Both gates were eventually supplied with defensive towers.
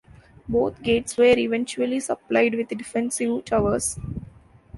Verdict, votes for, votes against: accepted, 2, 1